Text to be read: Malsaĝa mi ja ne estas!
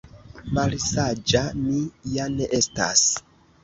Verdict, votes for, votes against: accepted, 2, 1